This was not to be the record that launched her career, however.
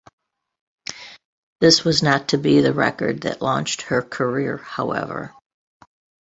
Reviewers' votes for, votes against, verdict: 2, 0, accepted